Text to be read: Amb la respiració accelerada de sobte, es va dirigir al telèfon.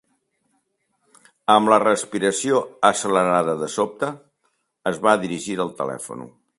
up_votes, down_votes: 0, 3